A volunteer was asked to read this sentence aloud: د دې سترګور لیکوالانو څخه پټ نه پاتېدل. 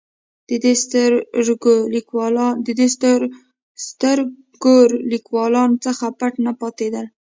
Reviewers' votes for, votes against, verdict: 0, 2, rejected